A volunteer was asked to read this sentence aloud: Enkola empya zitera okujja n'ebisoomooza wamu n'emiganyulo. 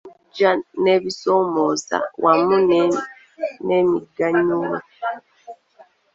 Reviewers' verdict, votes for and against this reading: rejected, 0, 2